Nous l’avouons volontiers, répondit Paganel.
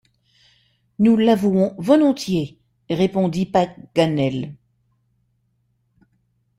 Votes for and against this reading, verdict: 2, 0, accepted